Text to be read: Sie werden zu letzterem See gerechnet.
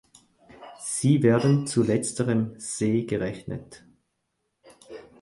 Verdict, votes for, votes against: accepted, 4, 0